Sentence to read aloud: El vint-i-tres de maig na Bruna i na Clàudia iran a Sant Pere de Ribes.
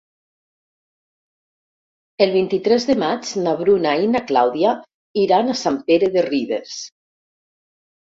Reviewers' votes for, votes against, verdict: 2, 0, accepted